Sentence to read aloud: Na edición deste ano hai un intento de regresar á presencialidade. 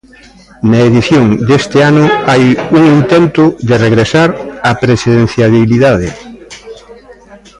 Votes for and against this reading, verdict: 0, 2, rejected